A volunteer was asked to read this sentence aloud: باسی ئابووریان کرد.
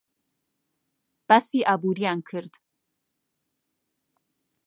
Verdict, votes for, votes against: accepted, 2, 0